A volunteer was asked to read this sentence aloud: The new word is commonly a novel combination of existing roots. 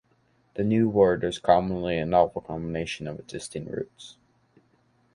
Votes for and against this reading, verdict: 2, 0, accepted